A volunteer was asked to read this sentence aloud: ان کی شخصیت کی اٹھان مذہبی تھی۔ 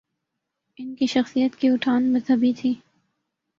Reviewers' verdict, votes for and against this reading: accepted, 2, 0